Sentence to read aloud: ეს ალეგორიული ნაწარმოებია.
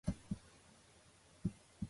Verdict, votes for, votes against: rejected, 0, 2